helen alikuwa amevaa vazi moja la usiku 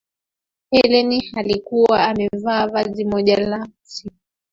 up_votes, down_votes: 2, 1